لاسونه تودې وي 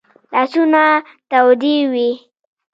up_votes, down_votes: 1, 2